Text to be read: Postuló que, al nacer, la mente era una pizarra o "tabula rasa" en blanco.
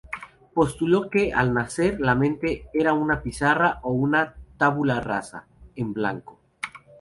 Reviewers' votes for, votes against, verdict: 0, 2, rejected